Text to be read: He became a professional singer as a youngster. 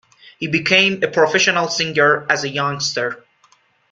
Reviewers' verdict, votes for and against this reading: accepted, 2, 0